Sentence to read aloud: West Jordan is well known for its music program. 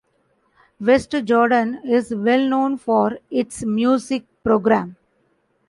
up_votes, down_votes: 2, 0